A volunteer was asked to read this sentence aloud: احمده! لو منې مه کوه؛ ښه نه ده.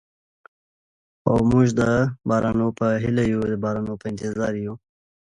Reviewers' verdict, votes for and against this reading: rejected, 0, 2